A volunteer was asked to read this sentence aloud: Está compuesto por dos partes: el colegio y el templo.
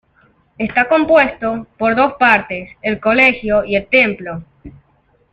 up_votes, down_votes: 2, 0